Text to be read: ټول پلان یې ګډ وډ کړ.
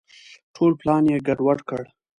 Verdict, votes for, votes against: accepted, 2, 0